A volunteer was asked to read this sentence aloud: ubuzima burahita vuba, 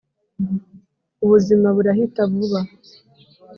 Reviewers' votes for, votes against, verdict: 4, 0, accepted